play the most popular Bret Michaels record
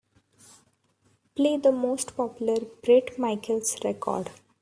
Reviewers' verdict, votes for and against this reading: accepted, 2, 0